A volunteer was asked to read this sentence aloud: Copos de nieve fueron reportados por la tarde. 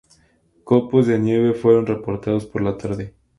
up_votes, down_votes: 2, 0